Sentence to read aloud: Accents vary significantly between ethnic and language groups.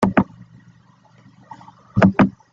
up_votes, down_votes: 0, 3